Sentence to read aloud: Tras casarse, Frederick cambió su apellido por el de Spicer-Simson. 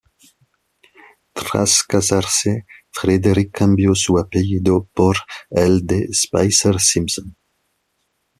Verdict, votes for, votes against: rejected, 1, 2